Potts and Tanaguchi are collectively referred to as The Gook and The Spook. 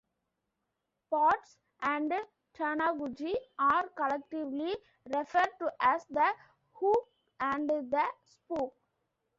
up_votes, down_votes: 0, 2